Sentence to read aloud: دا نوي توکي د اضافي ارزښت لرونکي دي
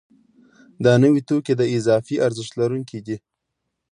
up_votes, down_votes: 2, 0